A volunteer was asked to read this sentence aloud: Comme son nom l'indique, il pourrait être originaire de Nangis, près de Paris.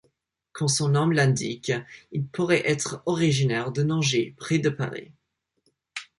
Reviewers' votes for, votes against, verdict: 3, 0, accepted